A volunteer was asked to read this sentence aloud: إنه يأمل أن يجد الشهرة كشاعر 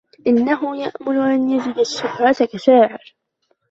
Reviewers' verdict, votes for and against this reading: rejected, 1, 2